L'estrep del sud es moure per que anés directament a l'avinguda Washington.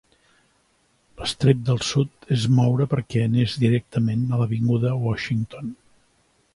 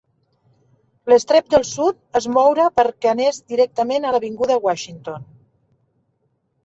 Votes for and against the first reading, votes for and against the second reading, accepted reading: 3, 0, 1, 2, first